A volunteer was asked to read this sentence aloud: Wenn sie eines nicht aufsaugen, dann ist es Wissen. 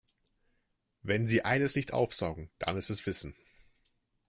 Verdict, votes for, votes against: accepted, 2, 0